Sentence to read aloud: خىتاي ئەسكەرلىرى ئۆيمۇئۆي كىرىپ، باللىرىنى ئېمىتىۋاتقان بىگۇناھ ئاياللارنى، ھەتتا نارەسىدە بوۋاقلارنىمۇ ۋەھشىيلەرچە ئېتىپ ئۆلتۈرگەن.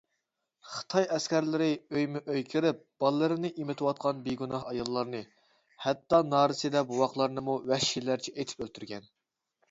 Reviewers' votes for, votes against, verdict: 2, 0, accepted